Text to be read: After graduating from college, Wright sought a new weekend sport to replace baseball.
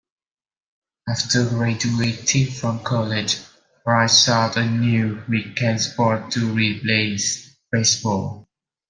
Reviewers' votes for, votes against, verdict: 1, 2, rejected